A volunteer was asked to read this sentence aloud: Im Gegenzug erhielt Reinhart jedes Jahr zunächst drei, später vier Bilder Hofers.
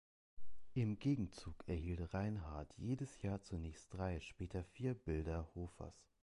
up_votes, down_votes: 2, 0